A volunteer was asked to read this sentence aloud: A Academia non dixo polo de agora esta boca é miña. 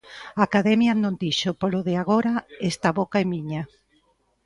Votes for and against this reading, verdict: 2, 0, accepted